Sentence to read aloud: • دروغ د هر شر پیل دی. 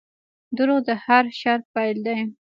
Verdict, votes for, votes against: rejected, 0, 2